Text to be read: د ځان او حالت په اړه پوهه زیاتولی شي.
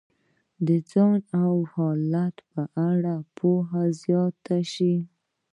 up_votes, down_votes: 2, 0